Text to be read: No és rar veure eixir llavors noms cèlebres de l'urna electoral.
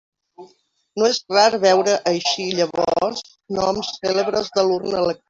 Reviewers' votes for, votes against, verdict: 0, 2, rejected